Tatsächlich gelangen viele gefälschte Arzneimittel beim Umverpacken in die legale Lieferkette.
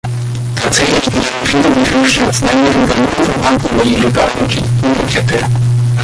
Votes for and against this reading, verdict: 0, 2, rejected